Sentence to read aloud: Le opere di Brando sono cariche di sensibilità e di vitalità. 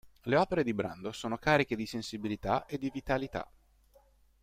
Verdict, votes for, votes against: accepted, 2, 0